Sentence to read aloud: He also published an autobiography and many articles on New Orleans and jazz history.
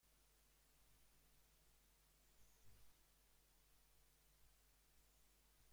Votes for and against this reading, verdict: 0, 2, rejected